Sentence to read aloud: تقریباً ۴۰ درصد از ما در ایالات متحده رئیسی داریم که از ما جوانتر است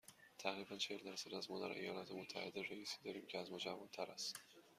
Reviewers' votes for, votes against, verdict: 0, 2, rejected